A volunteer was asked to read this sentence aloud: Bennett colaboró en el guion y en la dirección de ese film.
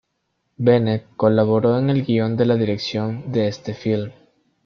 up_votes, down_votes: 1, 3